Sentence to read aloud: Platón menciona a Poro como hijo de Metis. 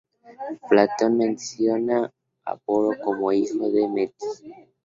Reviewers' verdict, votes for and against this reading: rejected, 0, 2